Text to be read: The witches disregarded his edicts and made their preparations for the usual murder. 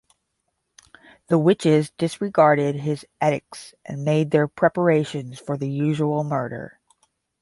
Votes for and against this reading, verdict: 5, 5, rejected